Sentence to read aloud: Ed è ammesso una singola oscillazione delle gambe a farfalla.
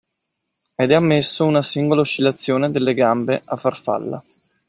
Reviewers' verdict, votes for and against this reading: accepted, 2, 0